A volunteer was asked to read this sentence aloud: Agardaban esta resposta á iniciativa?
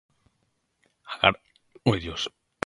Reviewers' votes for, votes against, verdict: 0, 2, rejected